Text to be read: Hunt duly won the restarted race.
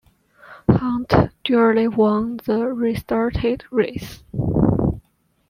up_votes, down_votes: 1, 2